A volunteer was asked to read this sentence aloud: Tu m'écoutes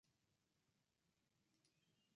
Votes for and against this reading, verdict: 0, 2, rejected